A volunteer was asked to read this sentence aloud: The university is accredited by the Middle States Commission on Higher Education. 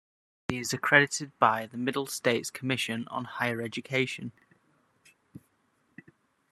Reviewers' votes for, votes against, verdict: 1, 2, rejected